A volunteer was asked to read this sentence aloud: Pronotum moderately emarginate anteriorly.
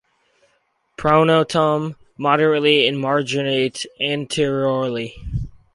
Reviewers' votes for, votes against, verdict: 2, 0, accepted